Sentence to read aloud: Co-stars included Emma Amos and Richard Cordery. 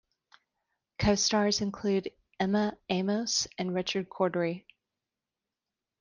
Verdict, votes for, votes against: rejected, 1, 2